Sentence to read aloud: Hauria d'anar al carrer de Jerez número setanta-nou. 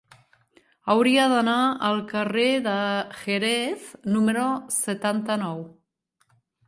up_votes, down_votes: 2, 0